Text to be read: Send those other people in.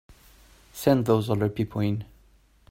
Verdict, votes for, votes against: accepted, 2, 0